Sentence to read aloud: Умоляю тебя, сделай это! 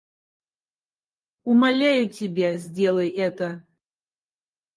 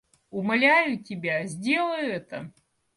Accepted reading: second